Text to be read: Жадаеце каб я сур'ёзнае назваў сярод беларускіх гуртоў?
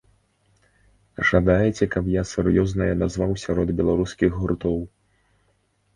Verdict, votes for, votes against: accepted, 2, 0